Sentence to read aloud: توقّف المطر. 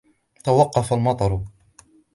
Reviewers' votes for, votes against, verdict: 2, 0, accepted